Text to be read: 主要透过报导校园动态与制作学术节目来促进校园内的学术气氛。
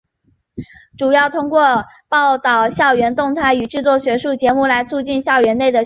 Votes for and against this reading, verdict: 1, 4, rejected